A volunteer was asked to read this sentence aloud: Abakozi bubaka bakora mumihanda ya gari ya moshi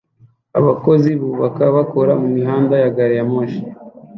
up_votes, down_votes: 2, 0